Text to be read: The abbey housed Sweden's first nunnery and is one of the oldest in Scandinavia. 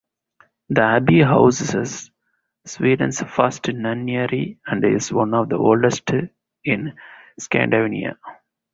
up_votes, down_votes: 0, 2